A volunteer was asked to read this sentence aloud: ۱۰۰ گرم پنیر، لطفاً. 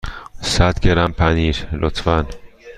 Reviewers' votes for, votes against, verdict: 0, 2, rejected